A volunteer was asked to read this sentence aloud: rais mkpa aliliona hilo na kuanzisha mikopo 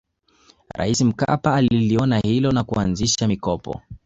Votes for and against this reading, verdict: 1, 2, rejected